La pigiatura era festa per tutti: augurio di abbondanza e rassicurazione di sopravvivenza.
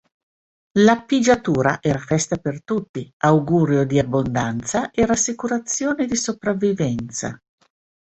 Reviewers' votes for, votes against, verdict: 2, 0, accepted